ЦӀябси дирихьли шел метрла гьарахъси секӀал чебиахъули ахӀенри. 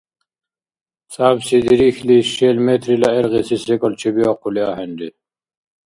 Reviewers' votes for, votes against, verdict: 1, 2, rejected